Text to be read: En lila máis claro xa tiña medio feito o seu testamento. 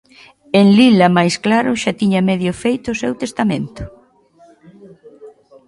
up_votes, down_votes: 1, 2